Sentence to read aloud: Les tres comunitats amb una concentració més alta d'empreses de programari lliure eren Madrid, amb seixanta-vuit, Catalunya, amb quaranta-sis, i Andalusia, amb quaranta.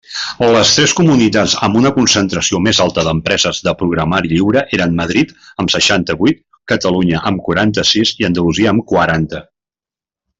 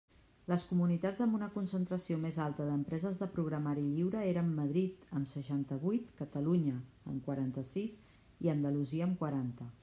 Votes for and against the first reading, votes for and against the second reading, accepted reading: 3, 0, 1, 2, first